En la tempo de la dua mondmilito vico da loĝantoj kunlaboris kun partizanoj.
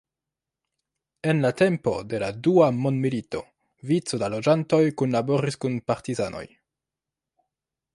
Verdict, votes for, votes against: accepted, 2, 1